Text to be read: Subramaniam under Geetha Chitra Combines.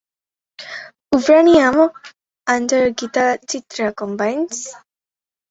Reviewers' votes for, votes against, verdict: 0, 4, rejected